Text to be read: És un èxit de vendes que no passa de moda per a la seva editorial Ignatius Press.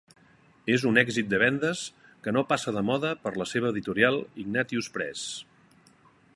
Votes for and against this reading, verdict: 2, 1, accepted